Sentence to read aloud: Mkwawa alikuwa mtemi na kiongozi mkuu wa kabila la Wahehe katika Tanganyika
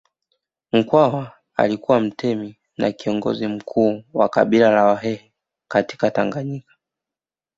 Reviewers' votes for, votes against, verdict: 2, 1, accepted